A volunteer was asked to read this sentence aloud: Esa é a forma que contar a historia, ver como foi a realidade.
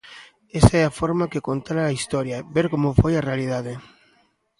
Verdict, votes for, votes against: rejected, 0, 2